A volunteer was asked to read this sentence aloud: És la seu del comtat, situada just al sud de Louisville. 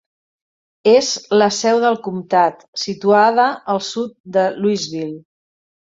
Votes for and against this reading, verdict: 0, 3, rejected